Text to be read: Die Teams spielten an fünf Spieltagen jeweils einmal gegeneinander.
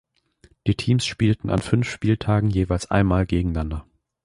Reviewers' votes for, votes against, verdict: 1, 2, rejected